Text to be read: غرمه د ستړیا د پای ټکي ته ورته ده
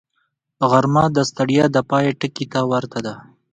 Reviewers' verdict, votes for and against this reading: accepted, 2, 0